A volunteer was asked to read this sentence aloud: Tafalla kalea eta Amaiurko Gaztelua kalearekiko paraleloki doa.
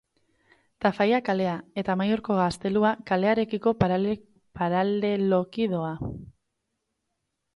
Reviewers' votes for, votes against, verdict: 0, 4, rejected